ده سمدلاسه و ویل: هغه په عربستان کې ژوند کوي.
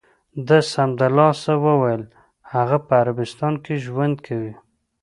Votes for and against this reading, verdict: 2, 0, accepted